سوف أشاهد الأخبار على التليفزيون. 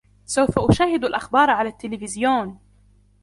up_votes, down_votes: 2, 0